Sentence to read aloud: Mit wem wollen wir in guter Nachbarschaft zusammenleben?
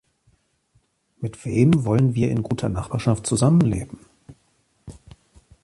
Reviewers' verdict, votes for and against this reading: accepted, 2, 0